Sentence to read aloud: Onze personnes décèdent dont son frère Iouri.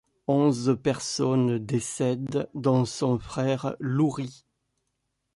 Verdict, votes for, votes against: rejected, 0, 2